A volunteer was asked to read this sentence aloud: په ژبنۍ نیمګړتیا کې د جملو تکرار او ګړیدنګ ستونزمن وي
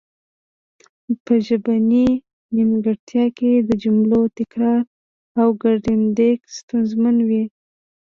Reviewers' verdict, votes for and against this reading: rejected, 1, 2